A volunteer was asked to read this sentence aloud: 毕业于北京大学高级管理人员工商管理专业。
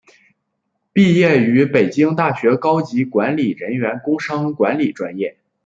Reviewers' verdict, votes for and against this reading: accepted, 2, 0